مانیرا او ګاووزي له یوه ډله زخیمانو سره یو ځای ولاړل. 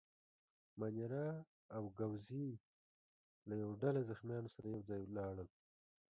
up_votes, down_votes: 2, 3